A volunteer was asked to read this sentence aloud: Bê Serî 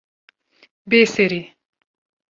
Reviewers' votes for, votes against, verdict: 2, 0, accepted